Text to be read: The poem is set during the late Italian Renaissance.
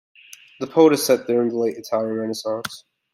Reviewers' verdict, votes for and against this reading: rejected, 1, 2